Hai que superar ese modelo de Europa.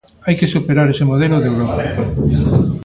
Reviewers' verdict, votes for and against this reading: rejected, 1, 2